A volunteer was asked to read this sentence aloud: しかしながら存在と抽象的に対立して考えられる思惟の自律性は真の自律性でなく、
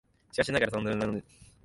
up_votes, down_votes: 0, 2